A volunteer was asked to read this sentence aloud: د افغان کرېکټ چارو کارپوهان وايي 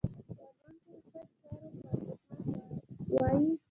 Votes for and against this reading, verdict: 1, 2, rejected